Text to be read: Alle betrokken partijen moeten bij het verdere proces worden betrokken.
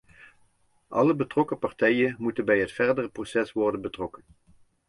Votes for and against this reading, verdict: 2, 0, accepted